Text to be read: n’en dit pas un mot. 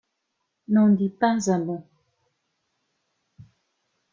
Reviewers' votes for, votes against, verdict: 2, 0, accepted